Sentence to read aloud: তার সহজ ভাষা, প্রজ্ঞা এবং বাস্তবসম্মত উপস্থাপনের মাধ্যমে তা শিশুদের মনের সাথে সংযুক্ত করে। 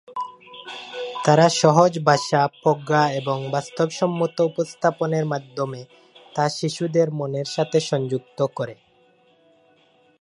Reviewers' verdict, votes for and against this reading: rejected, 0, 2